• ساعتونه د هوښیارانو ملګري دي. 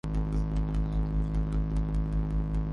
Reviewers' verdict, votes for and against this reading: rejected, 0, 2